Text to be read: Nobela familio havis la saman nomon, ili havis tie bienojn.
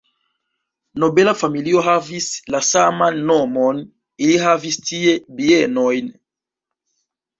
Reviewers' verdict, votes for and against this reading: rejected, 0, 2